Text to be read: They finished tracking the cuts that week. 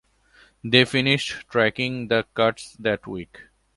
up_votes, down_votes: 2, 0